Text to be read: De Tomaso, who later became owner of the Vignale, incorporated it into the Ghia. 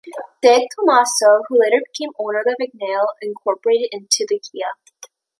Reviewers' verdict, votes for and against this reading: rejected, 0, 2